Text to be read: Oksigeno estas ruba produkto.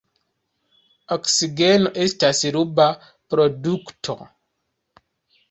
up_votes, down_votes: 1, 2